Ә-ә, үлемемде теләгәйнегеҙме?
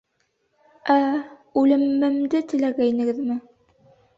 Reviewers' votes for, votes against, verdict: 2, 1, accepted